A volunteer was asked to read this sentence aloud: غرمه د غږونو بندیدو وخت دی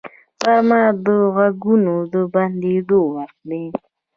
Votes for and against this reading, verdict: 0, 2, rejected